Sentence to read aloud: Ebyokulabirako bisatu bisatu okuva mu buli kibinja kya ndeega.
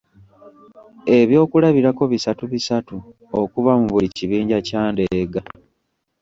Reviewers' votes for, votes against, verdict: 2, 0, accepted